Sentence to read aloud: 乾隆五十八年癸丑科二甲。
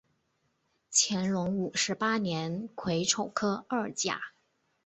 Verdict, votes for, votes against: accepted, 6, 0